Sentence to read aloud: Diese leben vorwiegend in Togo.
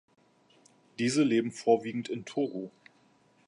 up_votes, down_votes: 2, 0